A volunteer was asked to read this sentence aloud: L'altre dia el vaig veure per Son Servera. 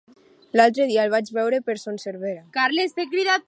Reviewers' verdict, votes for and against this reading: rejected, 0, 2